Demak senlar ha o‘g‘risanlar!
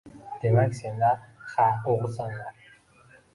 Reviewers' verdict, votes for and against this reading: accepted, 2, 1